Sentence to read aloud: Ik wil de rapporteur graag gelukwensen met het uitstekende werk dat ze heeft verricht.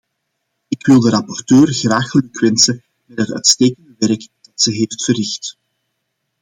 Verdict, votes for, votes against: rejected, 0, 2